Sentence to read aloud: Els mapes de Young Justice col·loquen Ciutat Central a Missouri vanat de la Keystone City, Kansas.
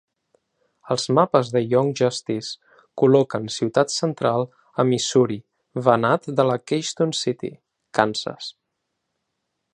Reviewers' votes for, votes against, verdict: 2, 1, accepted